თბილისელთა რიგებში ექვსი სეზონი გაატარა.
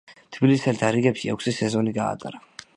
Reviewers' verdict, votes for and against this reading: accepted, 2, 1